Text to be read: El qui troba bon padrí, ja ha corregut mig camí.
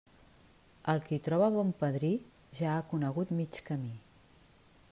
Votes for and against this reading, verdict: 0, 2, rejected